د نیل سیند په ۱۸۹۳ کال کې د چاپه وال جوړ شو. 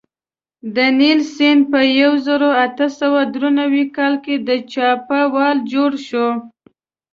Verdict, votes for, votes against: rejected, 0, 2